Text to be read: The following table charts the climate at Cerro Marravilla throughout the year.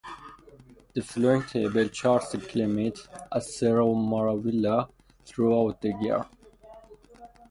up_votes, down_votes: 0, 4